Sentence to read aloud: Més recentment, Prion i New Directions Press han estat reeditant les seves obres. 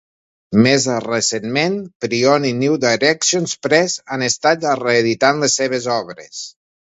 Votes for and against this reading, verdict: 2, 0, accepted